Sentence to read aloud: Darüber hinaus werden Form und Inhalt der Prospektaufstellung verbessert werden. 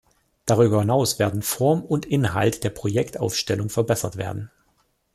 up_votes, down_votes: 0, 2